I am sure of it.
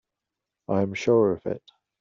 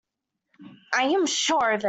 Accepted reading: first